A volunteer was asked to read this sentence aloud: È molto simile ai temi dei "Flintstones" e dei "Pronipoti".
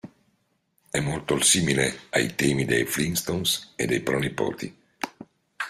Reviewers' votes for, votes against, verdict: 2, 0, accepted